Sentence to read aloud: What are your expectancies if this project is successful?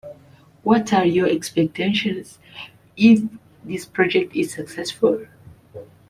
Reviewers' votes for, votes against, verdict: 1, 2, rejected